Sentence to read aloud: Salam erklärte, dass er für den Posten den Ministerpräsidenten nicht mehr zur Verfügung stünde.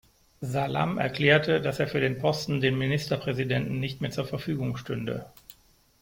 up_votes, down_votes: 2, 0